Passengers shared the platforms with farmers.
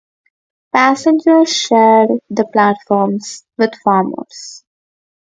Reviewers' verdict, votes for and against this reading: accepted, 4, 0